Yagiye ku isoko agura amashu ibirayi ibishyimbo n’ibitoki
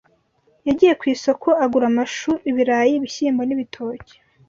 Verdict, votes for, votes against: accepted, 2, 0